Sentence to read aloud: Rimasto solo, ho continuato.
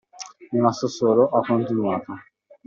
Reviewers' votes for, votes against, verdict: 2, 0, accepted